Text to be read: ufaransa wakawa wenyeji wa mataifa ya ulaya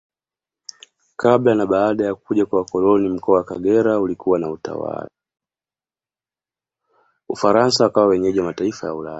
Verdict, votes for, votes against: rejected, 1, 2